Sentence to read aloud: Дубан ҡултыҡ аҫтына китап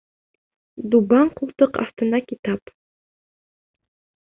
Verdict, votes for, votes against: accepted, 2, 0